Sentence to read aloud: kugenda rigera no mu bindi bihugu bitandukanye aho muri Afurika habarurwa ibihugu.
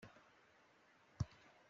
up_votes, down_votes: 0, 2